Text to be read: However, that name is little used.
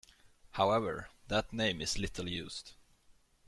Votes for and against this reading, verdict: 2, 0, accepted